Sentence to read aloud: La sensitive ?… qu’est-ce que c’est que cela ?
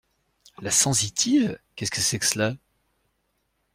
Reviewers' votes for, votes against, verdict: 2, 0, accepted